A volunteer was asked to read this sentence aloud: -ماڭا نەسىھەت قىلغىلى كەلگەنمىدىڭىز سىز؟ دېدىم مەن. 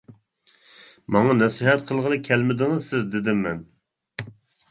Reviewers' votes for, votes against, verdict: 0, 2, rejected